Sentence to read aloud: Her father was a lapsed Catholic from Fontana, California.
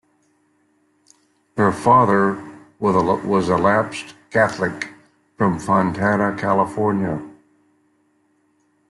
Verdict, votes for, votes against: accepted, 2, 0